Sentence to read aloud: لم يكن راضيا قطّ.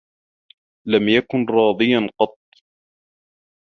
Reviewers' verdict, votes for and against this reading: rejected, 1, 2